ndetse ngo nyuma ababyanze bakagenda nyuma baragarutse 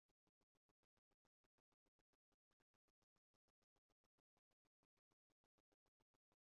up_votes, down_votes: 0, 2